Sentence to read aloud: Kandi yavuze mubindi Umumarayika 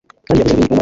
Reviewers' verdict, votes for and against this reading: accepted, 2, 1